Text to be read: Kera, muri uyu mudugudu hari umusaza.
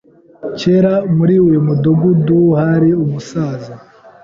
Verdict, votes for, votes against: accepted, 2, 0